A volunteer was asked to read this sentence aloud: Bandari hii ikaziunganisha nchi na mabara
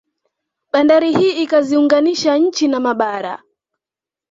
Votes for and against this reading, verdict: 2, 0, accepted